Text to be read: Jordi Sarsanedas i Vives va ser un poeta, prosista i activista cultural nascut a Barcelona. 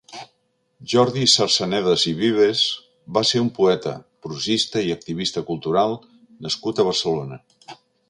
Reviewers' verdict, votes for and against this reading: accepted, 2, 0